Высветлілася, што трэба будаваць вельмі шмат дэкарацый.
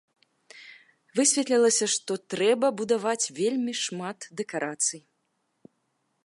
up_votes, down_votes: 2, 0